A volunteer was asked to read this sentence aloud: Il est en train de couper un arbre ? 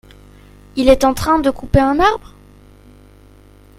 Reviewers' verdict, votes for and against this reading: accepted, 2, 0